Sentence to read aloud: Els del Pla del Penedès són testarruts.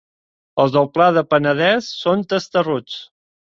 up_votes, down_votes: 2, 0